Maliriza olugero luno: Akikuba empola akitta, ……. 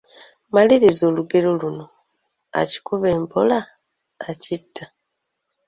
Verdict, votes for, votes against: accepted, 2, 0